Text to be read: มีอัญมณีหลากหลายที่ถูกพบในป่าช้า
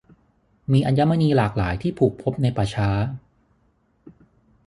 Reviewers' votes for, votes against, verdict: 3, 6, rejected